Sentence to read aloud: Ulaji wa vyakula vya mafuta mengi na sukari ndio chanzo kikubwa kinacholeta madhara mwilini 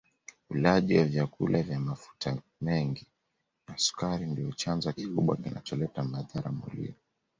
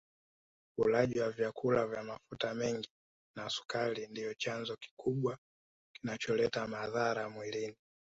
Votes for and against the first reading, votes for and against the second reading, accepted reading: 2, 0, 1, 3, first